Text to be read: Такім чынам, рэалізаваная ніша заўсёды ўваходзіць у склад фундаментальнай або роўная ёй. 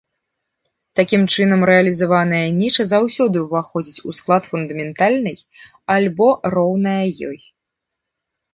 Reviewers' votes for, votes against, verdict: 1, 2, rejected